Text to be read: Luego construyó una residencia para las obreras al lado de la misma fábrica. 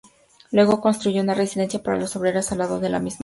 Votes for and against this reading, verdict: 2, 4, rejected